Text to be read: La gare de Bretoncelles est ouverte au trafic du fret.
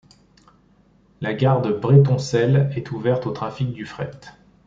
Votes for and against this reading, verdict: 0, 2, rejected